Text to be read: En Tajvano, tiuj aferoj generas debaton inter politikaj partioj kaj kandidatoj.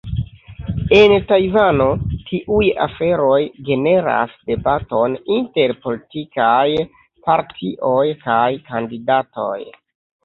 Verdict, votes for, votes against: rejected, 1, 2